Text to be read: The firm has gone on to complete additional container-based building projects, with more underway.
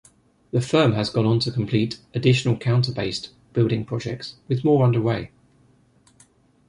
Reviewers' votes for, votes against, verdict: 0, 2, rejected